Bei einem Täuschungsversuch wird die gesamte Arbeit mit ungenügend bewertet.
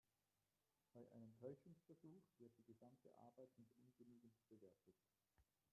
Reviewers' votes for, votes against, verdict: 0, 2, rejected